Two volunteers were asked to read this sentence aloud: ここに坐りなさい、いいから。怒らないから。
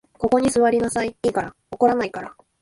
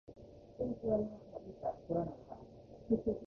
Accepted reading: first